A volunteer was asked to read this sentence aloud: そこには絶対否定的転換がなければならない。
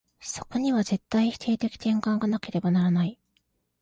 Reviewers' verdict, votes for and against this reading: accepted, 2, 0